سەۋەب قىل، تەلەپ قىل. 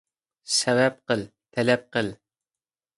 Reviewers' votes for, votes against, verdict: 2, 0, accepted